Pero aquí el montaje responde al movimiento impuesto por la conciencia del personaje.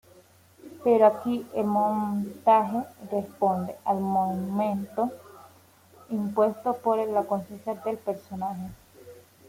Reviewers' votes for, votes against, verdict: 0, 2, rejected